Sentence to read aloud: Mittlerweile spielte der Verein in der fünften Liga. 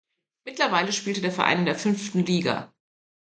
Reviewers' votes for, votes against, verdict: 3, 0, accepted